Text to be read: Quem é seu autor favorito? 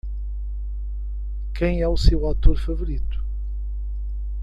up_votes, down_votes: 1, 2